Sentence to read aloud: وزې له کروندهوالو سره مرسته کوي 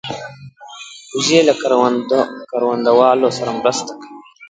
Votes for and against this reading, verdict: 1, 2, rejected